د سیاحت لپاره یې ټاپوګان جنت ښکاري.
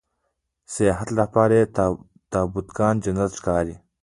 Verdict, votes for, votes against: rejected, 0, 2